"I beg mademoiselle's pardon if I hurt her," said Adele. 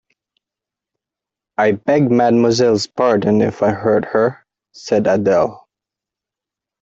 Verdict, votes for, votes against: rejected, 1, 2